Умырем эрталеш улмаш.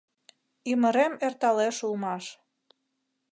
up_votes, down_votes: 0, 2